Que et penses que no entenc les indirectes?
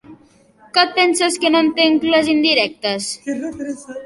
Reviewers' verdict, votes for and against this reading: accepted, 2, 1